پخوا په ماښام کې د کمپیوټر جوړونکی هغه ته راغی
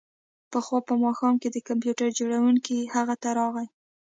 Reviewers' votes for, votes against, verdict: 2, 0, accepted